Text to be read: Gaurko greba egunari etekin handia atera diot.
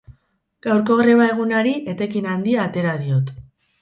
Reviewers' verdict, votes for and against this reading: rejected, 2, 2